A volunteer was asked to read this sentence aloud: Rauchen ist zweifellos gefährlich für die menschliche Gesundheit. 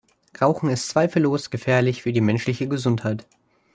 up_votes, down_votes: 2, 0